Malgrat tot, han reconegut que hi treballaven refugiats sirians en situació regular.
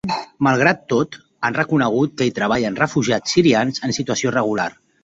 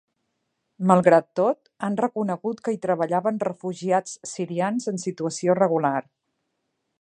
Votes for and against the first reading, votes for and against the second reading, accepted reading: 1, 2, 2, 0, second